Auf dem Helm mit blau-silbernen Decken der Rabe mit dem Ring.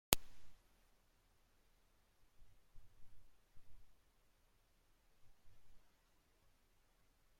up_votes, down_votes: 0, 2